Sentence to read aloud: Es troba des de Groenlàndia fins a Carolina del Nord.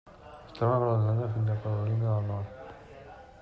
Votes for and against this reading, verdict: 0, 2, rejected